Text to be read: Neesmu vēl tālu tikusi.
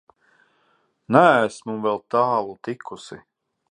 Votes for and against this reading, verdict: 3, 0, accepted